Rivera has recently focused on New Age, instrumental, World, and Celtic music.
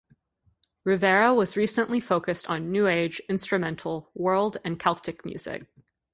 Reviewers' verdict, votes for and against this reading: rejected, 0, 2